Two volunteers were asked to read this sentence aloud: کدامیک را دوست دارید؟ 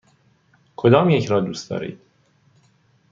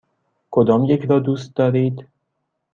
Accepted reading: second